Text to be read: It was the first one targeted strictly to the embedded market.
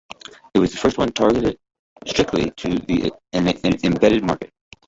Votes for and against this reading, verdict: 0, 2, rejected